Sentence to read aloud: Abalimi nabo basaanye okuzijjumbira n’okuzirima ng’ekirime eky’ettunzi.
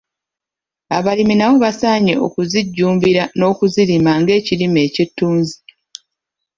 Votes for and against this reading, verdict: 1, 2, rejected